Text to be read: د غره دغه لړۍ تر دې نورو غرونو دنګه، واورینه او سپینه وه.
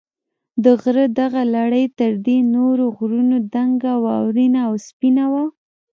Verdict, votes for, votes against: rejected, 1, 2